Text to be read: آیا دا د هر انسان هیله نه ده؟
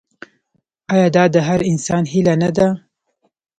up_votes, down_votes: 0, 2